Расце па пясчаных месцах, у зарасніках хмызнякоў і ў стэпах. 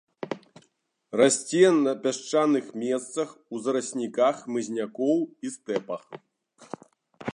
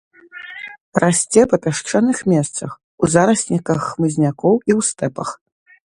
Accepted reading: second